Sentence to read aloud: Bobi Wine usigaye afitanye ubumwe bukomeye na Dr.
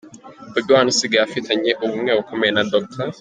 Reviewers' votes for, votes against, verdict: 2, 0, accepted